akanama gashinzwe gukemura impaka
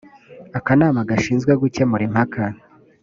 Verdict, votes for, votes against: accepted, 2, 0